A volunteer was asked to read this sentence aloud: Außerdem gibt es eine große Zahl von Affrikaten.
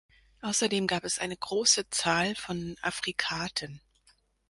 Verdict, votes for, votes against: rejected, 0, 2